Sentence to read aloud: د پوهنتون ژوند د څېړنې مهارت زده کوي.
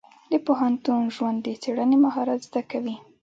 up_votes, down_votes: 3, 1